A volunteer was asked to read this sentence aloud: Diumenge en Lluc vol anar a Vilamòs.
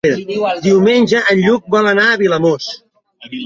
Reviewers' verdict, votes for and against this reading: rejected, 1, 3